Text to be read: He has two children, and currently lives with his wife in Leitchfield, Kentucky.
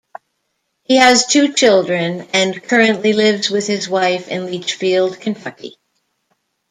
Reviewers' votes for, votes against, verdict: 0, 2, rejected